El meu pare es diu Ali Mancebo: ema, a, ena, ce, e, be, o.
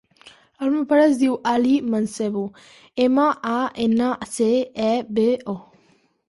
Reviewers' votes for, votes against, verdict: 3, 0, accepted